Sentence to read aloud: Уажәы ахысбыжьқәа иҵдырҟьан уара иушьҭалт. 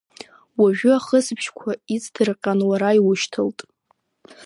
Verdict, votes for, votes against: accepted, 2, 0